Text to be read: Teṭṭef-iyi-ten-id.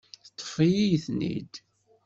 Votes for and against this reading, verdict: 2, 0, accepted